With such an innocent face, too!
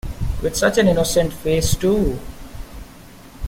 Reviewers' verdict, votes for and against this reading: accepted, 2, 0